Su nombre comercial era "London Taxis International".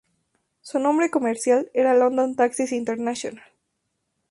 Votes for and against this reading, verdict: 0, 2, rejected